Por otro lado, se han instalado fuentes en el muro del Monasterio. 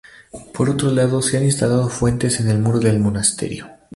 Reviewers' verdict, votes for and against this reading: rejected, 0, 2